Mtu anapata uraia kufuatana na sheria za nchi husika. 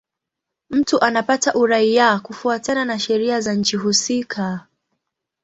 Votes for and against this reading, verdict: 2, 1, accepted